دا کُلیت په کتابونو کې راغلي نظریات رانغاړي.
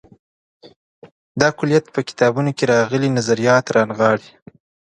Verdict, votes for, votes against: accepted, 2, 0